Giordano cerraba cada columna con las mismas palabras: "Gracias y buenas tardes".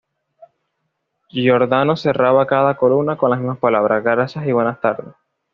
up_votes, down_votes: 2, 0